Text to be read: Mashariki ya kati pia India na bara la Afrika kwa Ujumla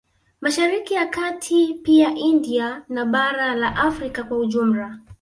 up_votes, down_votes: 2, 0